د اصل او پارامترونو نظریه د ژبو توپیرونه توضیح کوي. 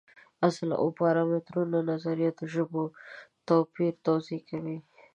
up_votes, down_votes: 1, 2